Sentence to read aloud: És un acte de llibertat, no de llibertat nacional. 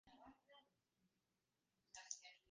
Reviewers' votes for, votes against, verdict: 0, 2, rejected